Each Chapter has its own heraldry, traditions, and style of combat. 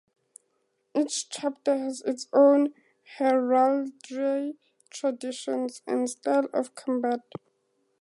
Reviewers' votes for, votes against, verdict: 2, 0, accepted